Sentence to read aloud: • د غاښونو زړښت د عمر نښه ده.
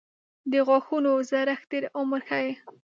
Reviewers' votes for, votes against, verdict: 0, 2, rejected